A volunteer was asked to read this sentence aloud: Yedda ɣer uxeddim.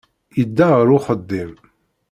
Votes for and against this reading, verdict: 2, 0, accepted